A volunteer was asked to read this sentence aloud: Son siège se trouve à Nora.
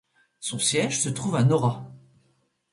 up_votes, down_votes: 2, 0